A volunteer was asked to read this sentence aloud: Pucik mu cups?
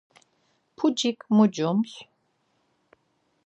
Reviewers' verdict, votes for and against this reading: rejected, 0, 4